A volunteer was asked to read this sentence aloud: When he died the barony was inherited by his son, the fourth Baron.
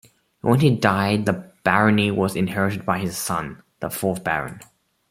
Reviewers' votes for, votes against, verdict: 0, 2, rejected